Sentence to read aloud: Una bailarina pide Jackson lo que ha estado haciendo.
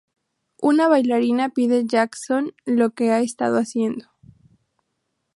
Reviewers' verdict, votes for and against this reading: accepted, 2, 0